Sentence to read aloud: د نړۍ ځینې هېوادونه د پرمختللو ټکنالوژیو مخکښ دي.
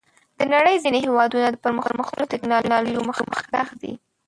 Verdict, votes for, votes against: rejected, 0, 2